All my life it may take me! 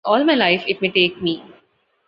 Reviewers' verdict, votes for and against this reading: accepted, 2, 0